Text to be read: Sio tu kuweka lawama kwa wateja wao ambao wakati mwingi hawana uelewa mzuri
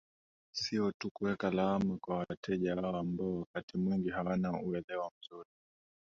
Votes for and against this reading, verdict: 2, 0, accepted